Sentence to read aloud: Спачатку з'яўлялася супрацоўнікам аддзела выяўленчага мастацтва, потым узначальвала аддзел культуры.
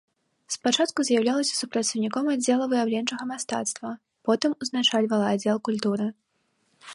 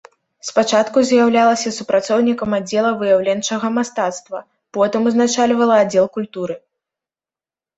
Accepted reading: second